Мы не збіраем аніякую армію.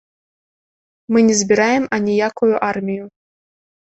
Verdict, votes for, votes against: accepted, 2, 0